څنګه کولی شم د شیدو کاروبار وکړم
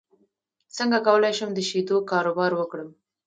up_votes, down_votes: 0, 2